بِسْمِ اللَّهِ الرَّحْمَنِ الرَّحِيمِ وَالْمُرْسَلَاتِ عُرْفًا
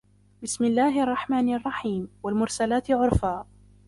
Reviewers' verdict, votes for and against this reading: rejected, 0, 2